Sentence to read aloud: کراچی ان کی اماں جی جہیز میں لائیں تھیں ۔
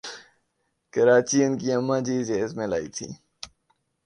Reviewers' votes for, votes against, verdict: 5, 0, accepted